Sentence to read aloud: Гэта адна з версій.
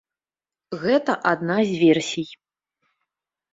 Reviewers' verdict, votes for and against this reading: accepted, 2, 0